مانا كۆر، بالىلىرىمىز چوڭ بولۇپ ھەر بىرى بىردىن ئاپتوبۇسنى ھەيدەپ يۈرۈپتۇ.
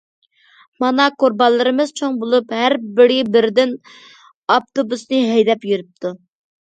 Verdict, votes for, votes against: rejected, 1, 2